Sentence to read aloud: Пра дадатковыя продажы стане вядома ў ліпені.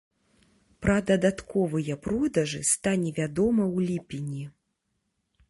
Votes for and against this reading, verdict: 0, 2, rejected